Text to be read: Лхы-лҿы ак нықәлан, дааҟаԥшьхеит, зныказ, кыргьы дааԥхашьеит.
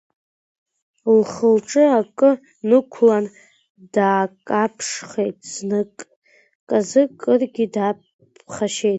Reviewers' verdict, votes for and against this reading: rejected, 0, 2